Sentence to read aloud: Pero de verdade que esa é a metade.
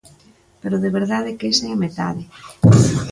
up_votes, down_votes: 2, 0